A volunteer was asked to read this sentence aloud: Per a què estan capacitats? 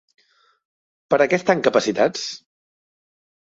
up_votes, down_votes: 2, 1